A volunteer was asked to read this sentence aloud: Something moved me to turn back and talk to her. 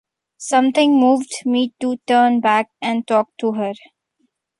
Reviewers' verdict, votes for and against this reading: accepted, 2, 0